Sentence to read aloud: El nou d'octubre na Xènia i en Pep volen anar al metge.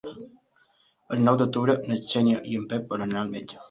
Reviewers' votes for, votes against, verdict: 2, 1, accepted